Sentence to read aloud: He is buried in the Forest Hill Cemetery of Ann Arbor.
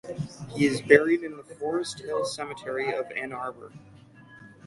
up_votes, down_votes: 6, 0